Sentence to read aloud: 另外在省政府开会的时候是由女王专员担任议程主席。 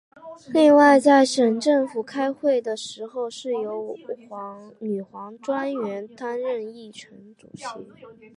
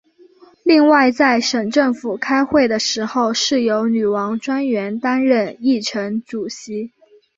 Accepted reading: second